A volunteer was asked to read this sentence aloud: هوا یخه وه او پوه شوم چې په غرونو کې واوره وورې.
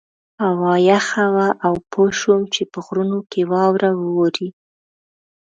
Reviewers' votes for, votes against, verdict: 2, 0, accepted